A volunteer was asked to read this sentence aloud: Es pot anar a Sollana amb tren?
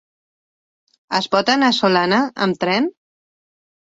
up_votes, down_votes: 0, 2